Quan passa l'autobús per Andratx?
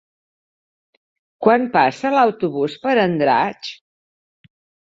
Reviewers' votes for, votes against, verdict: 6, 0, accepted